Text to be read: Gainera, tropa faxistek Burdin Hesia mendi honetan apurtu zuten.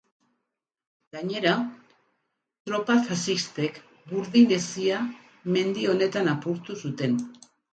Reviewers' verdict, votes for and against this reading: accepted, 4, 0